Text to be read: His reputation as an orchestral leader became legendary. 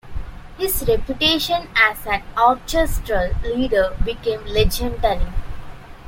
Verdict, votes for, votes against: rejected, 0, 2